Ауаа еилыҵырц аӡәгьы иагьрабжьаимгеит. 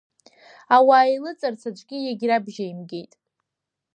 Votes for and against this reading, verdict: 2, 0, accepted